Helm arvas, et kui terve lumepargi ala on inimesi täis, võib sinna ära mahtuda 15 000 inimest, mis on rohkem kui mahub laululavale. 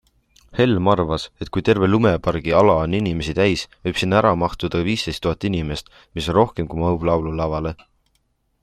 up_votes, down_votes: 0, 2